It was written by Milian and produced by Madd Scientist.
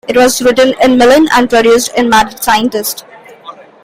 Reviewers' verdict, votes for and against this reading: accepted, 2, 0